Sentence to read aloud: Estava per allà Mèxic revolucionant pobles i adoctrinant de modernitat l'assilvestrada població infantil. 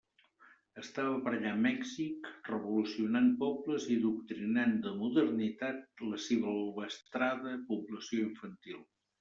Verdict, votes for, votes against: rejected, 0, 2